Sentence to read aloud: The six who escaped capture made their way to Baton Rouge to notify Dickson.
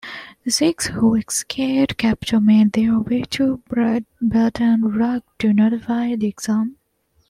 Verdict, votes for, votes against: rejected, 1, 2